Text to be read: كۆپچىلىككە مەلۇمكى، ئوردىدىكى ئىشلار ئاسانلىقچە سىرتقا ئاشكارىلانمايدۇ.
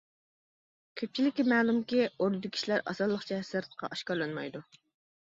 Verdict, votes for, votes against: accepted, 2, 1